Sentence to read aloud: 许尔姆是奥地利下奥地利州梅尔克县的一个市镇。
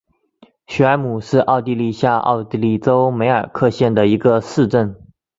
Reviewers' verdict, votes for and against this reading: accepted, 4, 0